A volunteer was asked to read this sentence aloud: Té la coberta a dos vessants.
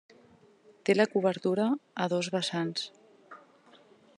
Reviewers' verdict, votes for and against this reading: rejected, 0, 2